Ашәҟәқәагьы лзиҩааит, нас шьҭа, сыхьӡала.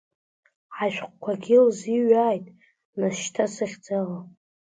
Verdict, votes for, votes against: accepted, 2, 1